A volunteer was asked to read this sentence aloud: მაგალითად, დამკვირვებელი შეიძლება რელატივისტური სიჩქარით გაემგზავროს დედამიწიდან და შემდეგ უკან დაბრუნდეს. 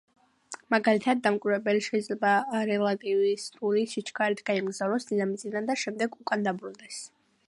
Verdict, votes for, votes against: rejected, 1, 2